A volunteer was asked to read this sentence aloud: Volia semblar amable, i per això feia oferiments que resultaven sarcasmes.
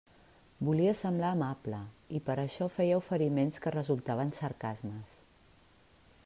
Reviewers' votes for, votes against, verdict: 3, 0, accepted